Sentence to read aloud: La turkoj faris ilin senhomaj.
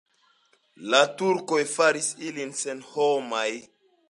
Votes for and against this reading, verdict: 2, 0, accepted